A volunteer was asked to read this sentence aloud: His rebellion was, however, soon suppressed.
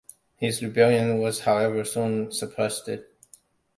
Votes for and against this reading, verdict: 0, 2, rejected